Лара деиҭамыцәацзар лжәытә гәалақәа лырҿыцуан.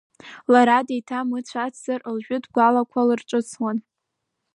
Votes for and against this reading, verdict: 0, 2, rejected